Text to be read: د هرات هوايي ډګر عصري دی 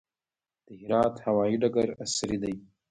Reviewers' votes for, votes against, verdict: 0, 2, rejected